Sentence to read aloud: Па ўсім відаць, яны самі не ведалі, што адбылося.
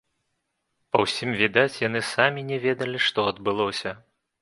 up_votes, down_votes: 2, 0